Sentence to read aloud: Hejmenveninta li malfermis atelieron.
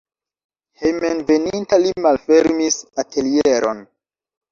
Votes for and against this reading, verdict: 1, 2, rejected